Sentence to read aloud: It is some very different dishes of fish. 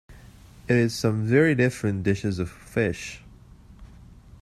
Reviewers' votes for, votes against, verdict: 1, 2, rejected